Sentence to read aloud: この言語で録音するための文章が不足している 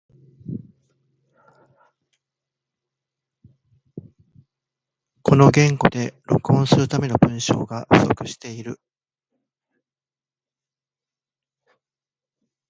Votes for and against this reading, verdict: 1, 2, rejected